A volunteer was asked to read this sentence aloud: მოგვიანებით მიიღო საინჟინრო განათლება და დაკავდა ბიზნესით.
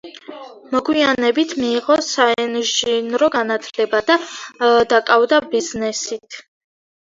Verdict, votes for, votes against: rejected, 1, 2